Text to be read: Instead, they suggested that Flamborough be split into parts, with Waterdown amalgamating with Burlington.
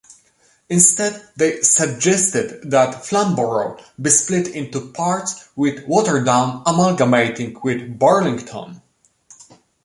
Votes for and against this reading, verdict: 1, 2, rejected